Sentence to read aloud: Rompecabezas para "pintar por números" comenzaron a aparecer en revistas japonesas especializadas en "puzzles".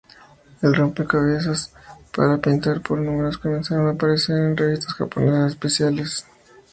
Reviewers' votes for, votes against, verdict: 0, 2, rejected